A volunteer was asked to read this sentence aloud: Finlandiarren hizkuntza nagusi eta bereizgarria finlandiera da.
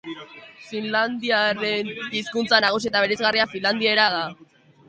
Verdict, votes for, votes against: accepted, 2, 1